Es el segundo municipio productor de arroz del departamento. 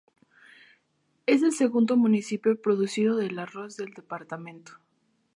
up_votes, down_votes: 2, 2